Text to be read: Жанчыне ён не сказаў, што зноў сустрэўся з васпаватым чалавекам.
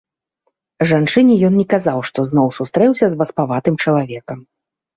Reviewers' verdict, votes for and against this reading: rejected, 0, 2